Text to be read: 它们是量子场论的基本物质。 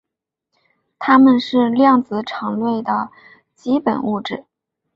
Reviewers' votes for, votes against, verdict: 3, 0, accepted